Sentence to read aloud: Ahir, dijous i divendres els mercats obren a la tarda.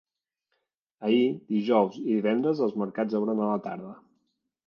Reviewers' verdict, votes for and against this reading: accepted, 2, 0